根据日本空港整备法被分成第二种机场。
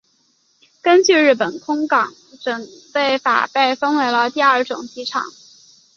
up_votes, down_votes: 3, 0